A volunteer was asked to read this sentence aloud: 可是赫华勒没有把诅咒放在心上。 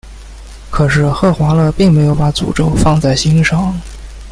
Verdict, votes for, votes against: rejected, 1, 2